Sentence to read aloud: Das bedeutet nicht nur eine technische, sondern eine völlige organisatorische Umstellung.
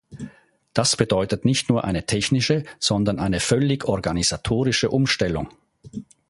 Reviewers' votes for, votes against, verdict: 1, 2, rejected